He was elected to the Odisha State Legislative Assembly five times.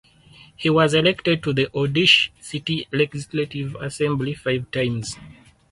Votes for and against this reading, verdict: 0, 4, rejected